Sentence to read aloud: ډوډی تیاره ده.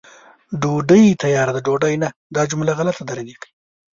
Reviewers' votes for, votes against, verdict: 1, 2, rejected